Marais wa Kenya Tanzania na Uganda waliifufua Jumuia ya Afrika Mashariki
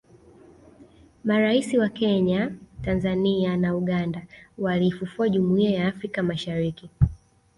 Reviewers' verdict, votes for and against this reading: rejected, 0, 2